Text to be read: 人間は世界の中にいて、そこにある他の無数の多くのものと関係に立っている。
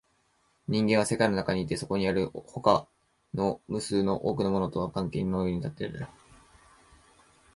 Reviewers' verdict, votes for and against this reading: rejected, 1, 2